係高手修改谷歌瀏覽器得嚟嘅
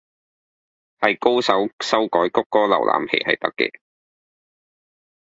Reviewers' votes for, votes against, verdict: 2, 3, rejected